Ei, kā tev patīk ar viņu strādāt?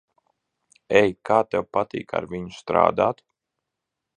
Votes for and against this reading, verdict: 2, 0, accepted